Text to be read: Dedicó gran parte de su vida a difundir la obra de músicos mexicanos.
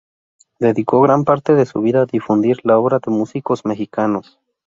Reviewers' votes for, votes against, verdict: 2, 0, accepted